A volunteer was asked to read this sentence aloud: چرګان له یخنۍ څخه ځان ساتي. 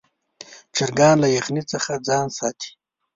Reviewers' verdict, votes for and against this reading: rejected, 1, 2